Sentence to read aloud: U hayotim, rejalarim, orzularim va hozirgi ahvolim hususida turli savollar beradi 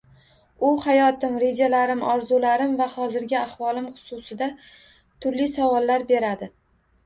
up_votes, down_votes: 1, 2